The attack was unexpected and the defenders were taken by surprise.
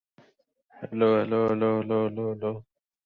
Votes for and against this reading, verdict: 0, 2, rejected